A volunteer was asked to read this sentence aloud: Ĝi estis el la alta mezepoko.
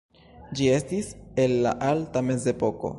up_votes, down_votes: 2, 0